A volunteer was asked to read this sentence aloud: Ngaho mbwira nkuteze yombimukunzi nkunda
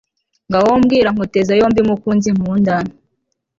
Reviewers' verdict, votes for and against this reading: accepted, 2, 0